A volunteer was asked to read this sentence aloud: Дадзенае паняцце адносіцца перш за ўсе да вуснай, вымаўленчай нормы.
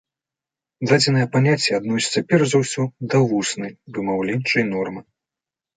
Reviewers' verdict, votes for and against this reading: accepted, 2, 0